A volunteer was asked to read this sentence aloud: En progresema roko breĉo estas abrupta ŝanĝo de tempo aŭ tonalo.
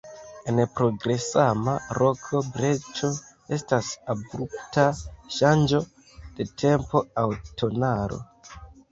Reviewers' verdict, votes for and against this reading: accepted, 4, 1